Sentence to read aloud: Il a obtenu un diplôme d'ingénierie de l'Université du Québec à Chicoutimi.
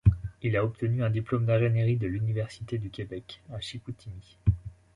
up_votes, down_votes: 2, 0